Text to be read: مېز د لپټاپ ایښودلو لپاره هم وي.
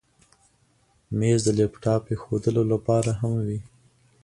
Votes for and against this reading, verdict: 2, 0, accepted